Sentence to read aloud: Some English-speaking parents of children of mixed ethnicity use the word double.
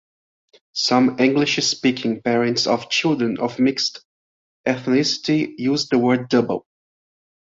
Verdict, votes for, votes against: accepted, 2, 0